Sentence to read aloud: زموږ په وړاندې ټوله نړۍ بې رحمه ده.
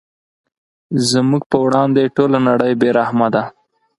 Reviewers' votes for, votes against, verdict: 4, 0, accepted